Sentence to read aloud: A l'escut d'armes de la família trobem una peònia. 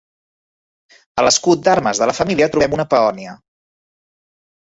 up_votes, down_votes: 3, 1